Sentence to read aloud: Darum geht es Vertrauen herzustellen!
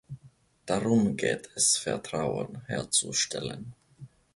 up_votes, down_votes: 2, 0